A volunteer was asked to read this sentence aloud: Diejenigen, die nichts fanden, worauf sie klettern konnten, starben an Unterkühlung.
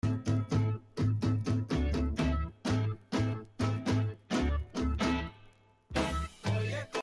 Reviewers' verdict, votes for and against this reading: rejected, 0, 2